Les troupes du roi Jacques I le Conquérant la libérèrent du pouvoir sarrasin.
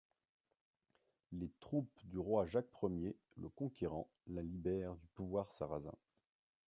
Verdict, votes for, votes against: rejected, 0, 2